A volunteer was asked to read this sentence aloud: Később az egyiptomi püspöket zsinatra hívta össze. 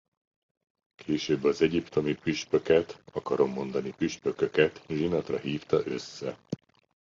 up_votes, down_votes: 0, 2